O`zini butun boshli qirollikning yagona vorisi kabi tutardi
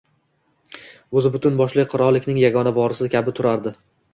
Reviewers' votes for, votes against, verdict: 1, 2, rejected